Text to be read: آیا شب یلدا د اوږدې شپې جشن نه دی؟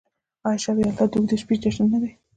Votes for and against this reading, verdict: 0, 2, rejected